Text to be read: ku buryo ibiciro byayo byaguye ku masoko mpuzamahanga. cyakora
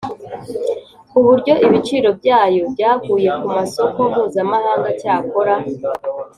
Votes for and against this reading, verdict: 2, 0, accepted